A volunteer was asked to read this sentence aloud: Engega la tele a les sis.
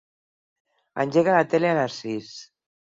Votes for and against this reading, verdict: 6, 0, accepted